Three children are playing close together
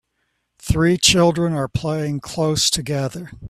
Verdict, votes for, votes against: accepted, 2, 0